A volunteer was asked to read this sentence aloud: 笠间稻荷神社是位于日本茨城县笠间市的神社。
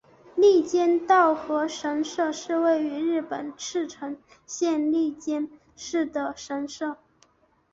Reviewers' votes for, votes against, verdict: 4, 0, accepted